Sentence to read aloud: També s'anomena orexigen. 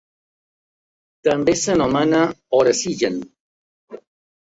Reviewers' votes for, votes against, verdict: 2, 0, accepted